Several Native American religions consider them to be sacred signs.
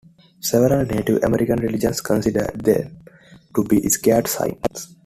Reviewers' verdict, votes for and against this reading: rejected, 1, 2